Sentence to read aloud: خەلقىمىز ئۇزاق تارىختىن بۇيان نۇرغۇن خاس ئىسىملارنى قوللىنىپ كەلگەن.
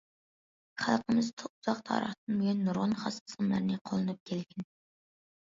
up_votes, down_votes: 0, 2